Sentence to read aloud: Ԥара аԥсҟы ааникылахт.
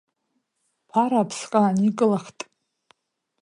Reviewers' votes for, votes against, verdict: 2, 0, accepted